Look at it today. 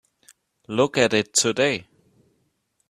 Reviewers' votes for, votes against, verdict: 3, 0, accepted